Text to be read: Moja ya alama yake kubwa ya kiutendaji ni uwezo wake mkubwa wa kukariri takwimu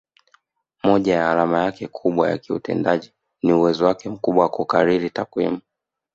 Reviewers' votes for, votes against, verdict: 6, 1, accepted